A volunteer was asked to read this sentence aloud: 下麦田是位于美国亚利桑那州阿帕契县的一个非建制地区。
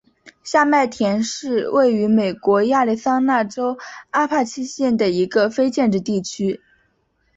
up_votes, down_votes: 3, 0